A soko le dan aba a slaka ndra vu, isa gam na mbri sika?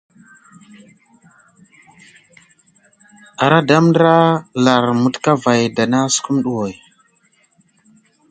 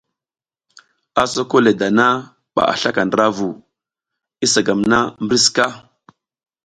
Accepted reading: second